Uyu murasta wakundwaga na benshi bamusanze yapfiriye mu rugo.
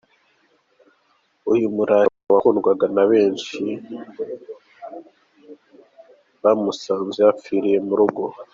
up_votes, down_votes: 1, 2